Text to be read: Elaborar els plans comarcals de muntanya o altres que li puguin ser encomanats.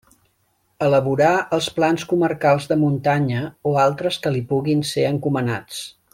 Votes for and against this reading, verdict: 2, 0, accepted